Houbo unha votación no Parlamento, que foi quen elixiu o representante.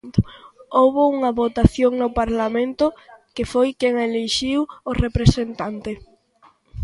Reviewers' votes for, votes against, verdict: 2, 0, accepted